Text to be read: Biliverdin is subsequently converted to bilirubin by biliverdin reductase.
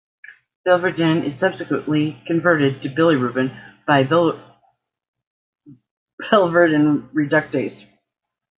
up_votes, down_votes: 0, 2